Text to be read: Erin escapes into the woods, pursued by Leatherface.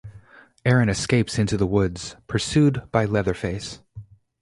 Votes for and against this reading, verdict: 4, 0, accepted